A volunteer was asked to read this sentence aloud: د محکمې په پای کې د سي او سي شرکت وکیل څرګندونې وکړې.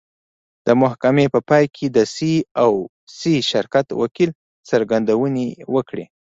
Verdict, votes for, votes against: accepted, 2, 1